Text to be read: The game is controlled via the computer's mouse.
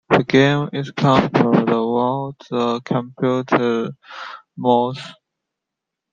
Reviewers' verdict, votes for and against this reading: accepted, 2, 0